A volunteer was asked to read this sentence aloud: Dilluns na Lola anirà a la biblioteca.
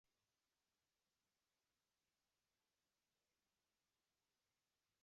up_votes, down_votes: 1, 2